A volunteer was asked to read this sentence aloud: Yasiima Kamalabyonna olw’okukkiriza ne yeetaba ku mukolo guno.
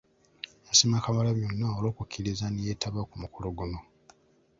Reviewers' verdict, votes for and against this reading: rejected, 1, 2